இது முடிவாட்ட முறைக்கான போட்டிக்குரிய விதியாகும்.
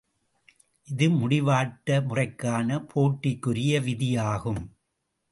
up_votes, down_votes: 2, 0